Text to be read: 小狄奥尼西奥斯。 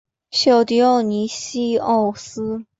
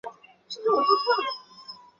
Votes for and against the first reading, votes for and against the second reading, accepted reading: 3, 0, 0, 2, first